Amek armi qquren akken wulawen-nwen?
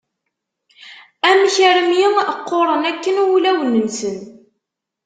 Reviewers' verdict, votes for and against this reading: rejected, 1, 2